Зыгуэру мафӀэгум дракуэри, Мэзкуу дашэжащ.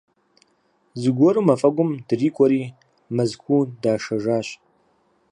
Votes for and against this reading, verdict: 2, 4, rejected